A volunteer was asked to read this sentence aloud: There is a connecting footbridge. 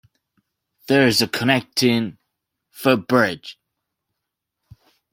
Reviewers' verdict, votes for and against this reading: accepted, 2, 1